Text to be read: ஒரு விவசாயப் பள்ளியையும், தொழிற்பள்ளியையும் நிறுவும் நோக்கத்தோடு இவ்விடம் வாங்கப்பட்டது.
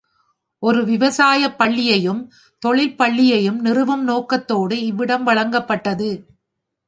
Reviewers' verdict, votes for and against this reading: rejected, 0, 2